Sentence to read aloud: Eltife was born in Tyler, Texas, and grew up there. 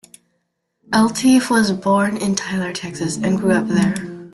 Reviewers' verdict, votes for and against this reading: accepted, 2, 0